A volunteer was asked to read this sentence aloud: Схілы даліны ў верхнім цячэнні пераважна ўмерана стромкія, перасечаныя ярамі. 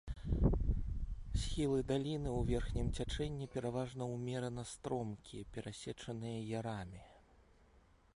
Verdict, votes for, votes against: rejected, 1, 2